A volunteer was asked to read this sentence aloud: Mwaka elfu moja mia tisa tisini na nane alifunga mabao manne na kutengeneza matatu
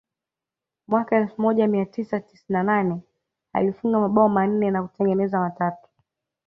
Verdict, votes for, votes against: rejected, 0, 2